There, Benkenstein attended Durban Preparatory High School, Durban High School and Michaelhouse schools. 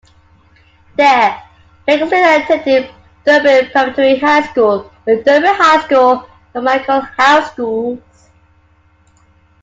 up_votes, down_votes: 1, 2